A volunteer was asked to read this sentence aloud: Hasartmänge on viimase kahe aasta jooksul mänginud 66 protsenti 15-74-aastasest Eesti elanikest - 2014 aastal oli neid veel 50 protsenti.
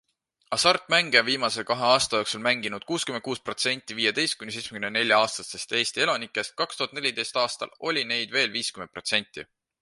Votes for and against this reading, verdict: 0, 2, rejected